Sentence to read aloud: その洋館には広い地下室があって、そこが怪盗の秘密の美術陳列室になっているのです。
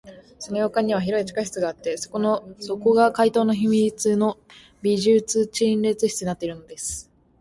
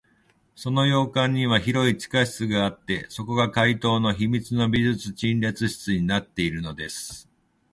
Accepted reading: second